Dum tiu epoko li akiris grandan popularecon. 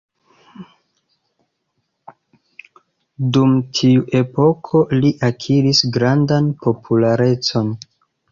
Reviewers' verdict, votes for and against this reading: rejected, 1, 2